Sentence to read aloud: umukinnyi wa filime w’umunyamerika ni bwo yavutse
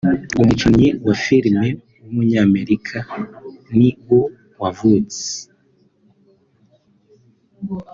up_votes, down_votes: 1, 3